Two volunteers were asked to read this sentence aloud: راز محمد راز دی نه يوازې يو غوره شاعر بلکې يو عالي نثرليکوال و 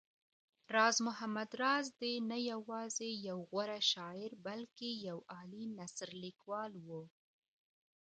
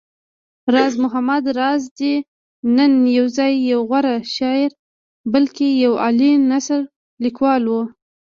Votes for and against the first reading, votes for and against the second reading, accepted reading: 2, 0, 1, 2, first